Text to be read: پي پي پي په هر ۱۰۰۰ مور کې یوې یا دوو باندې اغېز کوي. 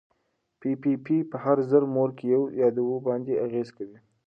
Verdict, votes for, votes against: rejected, 0, 2